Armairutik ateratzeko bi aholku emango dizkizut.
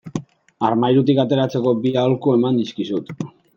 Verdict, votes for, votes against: rejected, 0, 2